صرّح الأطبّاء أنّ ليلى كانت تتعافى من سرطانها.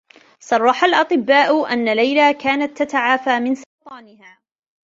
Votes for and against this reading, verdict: 0, 2, rejected